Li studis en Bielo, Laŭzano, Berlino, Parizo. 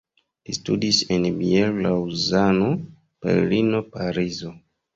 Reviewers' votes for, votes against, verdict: 1, 2, rejected